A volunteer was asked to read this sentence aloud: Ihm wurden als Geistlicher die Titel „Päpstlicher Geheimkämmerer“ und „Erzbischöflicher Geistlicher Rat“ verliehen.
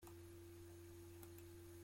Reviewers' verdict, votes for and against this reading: rejected, 0, 2